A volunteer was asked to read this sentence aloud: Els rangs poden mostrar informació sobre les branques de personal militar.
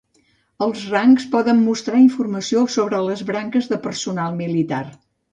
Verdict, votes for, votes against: accepted, 2, 0